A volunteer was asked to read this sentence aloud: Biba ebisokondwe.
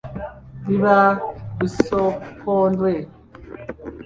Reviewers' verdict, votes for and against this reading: rejected, 1, 2